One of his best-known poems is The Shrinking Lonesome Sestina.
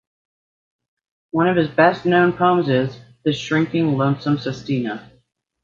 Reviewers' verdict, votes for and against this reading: rejected, 1, 2